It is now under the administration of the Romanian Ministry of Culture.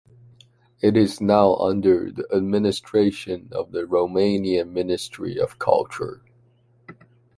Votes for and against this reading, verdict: 2, 0, accepted